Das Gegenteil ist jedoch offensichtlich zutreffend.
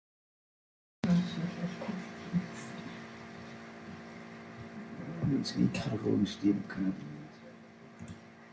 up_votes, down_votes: 0, 3